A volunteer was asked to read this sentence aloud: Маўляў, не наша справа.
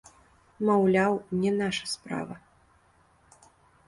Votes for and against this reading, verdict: 2, 1, accepted